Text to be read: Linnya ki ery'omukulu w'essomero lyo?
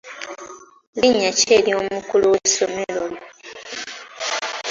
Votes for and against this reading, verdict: 2, 0, accepted